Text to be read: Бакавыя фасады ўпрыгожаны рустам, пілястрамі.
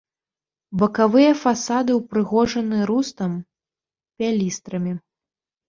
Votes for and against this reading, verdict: 1, 2, rejected